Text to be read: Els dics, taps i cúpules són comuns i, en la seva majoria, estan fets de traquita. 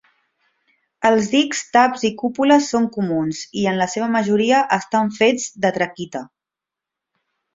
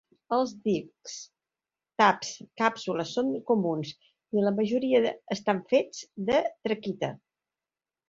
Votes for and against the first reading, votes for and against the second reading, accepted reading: 2, 0, 1, 2, first